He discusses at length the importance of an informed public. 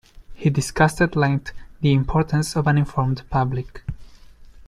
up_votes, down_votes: 1, 2